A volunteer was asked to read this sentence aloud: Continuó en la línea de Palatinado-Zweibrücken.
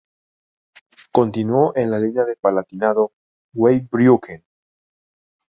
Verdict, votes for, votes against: rejected, 0, 2